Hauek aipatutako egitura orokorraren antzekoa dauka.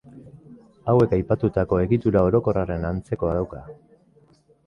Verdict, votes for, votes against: accepted, 2, 0